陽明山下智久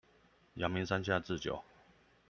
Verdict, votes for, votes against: accepted, 2, 0